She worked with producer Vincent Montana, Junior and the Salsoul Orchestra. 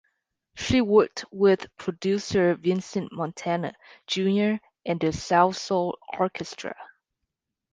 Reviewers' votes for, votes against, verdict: 3, 0, accepted